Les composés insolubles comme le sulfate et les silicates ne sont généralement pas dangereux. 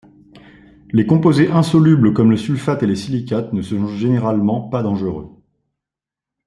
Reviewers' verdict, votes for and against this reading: rejected, 1, 2